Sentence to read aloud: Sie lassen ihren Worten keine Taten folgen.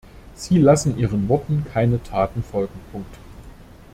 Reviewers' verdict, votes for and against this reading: rejected, 0, 2